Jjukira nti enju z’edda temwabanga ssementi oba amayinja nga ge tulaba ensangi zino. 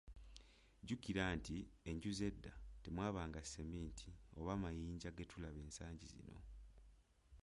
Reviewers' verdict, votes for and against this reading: rejected, 0, 2